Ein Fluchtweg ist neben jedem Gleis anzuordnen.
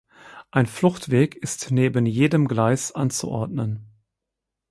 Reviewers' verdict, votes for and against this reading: accepted, 6, 0